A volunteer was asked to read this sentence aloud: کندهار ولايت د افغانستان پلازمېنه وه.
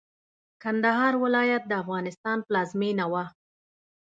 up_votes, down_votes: 2, 0